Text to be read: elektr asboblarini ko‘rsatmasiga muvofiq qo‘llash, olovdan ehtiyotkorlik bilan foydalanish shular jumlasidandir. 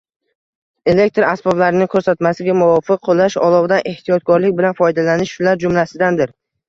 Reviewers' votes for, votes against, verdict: 1, 2, rejected